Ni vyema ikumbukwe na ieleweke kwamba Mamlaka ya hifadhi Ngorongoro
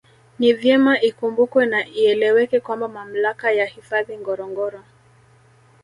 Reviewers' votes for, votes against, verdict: 2, 1, accepted